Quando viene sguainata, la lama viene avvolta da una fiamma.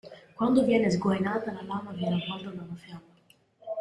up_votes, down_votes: 1, 2